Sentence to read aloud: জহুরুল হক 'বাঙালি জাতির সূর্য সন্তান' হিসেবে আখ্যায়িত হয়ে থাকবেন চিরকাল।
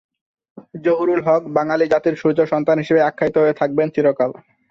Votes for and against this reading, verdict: 2, 0, accepted